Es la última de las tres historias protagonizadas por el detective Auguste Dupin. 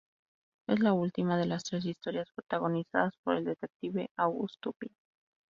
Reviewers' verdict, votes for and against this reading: accepted, 2, 0